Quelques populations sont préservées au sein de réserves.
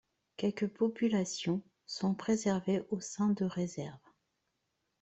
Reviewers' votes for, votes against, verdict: 2, 0, accepted